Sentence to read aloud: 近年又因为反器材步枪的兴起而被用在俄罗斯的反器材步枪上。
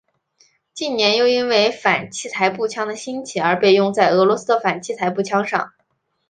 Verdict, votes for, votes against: accepted, 2, 0